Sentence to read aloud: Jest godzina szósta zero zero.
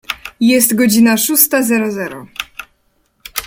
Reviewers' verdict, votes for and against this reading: accepted, 2, 0